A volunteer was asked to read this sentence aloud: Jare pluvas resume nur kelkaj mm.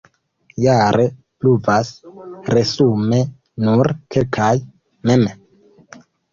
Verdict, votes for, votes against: rejected, 1, 2